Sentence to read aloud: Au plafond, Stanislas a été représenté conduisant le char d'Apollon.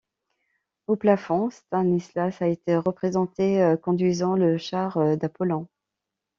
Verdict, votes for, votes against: rejected, 1, 2